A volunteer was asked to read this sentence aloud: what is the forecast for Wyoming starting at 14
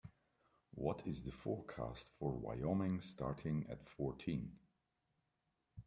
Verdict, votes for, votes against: rejected, 0, 2